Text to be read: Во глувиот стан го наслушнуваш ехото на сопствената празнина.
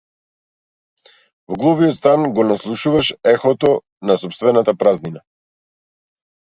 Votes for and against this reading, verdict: 2, 0, accepted